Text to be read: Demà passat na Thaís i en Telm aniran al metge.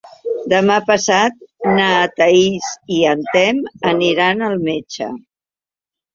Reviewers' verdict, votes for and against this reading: rejected, 0, 2